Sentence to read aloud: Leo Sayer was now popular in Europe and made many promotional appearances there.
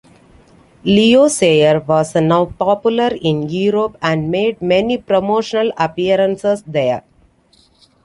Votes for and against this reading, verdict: 2, 0, accepted